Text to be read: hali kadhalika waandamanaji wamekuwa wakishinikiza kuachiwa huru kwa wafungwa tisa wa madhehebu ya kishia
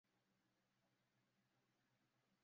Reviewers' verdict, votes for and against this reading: rejected, 0, 2